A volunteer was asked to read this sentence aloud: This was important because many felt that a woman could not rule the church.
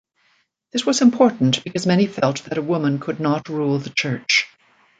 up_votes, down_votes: 2, 0